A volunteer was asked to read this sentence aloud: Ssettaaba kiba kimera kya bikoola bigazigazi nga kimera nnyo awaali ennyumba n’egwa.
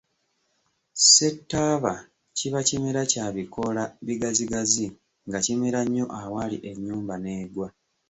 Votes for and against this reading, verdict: 2, 3, rejected